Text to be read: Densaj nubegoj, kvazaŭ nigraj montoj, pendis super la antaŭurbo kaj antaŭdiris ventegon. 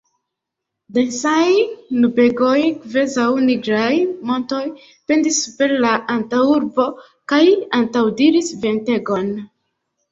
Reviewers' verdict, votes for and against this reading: rejected, 0, 2